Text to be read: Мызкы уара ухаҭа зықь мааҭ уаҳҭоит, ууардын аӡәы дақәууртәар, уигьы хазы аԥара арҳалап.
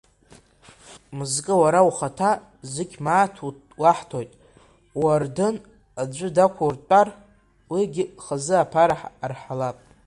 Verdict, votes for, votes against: rejected, 1, 2